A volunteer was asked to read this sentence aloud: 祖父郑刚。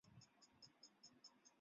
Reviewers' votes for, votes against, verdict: 0, 3, rejected